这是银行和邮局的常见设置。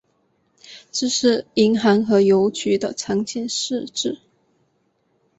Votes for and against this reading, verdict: 5, 2, accepted